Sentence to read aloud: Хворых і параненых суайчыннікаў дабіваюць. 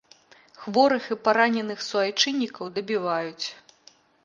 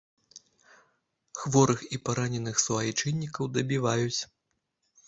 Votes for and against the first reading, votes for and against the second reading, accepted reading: 2, 0, 1, 2, first